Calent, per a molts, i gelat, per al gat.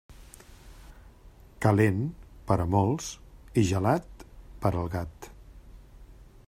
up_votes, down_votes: 4, 0